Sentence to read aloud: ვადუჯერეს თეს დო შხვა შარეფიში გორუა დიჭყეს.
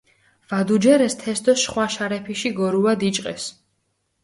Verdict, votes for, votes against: accepted, 4, 0